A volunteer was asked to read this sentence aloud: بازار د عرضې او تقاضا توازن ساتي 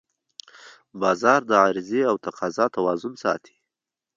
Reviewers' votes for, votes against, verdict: 3, 0, accepted